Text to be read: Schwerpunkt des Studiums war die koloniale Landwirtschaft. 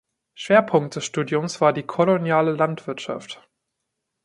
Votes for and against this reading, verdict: 2, 1, accepted